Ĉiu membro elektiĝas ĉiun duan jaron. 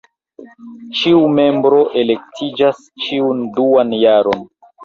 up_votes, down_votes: 0, 2